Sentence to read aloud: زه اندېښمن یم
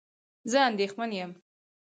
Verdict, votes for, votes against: accepted, 4, 0